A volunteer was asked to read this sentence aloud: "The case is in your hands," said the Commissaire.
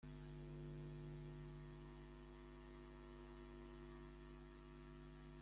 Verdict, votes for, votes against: rejected, 0, 2